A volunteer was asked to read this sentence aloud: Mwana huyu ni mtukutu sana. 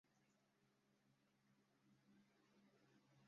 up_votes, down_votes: 0, 2